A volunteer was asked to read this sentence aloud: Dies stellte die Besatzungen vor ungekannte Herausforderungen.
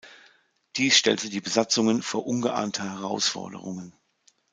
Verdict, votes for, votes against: rejected, 0, 2